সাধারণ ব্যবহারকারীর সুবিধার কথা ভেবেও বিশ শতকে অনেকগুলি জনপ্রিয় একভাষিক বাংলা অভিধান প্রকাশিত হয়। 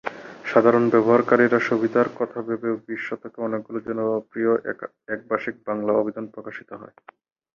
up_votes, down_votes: 2, 0